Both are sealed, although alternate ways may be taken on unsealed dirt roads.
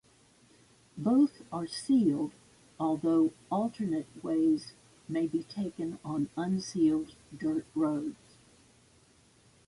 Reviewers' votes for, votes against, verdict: 2, 0, accepted